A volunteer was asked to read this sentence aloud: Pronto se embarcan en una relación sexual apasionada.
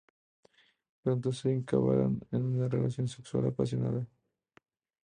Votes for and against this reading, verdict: 0, 2, rejected